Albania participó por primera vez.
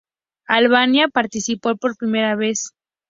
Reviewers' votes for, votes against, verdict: 2, 0, accepted